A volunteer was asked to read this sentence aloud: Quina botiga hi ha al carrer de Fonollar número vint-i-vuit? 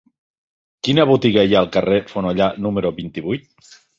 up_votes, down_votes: 2, 3